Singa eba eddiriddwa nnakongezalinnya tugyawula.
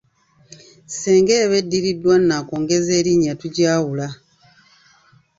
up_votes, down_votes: 1, 2